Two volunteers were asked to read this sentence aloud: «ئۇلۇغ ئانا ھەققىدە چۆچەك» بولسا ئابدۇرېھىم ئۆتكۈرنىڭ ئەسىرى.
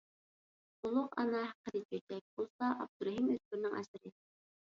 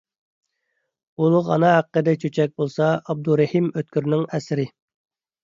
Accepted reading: second